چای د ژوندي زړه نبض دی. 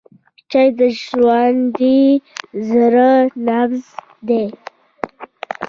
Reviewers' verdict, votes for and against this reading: rejected, 1, 2